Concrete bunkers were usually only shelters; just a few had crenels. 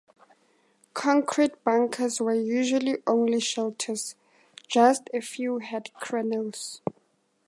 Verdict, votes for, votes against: accepted, 2, 0